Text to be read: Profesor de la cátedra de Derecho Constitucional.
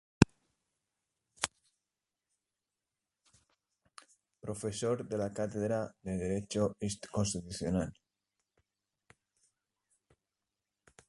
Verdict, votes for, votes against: rejected, 0, 2